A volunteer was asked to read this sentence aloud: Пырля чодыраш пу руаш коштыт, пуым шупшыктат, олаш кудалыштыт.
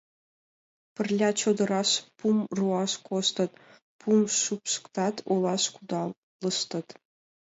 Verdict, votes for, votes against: rejected, 0, 2